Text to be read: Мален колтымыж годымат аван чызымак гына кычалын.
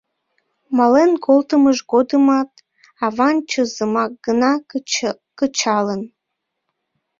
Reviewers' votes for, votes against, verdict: 0, 2, rejected